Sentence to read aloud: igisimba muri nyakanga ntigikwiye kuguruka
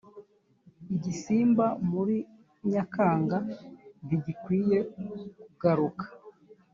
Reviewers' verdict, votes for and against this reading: rejected, 0, 2